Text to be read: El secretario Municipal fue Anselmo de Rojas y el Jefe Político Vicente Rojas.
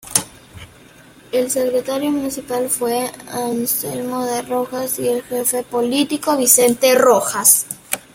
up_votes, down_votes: 2, 0